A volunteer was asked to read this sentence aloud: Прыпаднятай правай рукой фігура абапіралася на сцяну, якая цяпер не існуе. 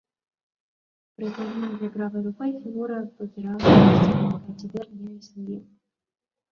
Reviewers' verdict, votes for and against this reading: rejected, 0, 2